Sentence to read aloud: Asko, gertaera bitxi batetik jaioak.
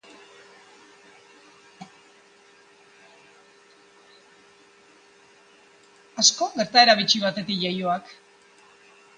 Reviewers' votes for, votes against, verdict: 0, 2, rejected